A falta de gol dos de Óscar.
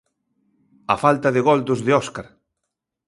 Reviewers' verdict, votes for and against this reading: accepted, 2, 0